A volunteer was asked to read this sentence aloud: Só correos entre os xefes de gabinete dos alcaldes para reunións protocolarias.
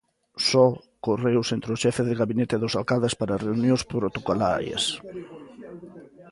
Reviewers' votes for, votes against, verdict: 1, 2, rejected